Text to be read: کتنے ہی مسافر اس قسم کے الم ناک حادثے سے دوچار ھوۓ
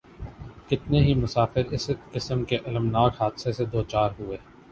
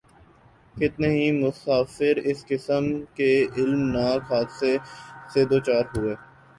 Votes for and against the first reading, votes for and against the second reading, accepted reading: 2, 0, 0, 2, first